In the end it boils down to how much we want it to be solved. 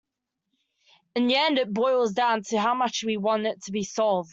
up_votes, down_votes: 1, 2